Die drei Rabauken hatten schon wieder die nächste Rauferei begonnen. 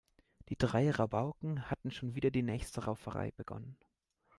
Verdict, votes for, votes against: accepted, 2, 0